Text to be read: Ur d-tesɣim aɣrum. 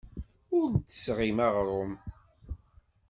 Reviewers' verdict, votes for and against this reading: accepted, 2, 0